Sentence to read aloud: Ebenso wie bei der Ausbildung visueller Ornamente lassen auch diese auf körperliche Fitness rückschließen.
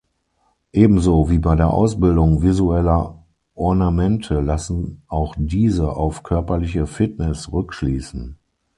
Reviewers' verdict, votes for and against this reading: accepted, 6, 0